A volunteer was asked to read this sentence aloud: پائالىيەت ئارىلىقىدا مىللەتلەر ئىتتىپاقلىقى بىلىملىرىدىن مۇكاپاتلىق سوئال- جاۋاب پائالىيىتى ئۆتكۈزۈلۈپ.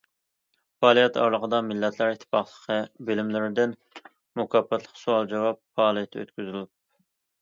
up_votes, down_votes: 2, 0